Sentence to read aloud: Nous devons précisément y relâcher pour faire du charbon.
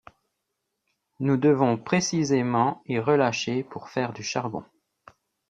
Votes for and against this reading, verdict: 2, 0, accepted